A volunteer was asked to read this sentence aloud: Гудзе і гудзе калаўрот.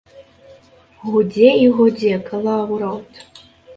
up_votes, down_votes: 2, 0